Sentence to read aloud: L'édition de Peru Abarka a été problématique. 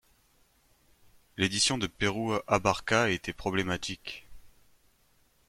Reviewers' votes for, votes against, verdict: 0, 2, rejected